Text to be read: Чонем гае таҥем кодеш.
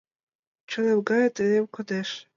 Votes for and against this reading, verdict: 1, 2, rejected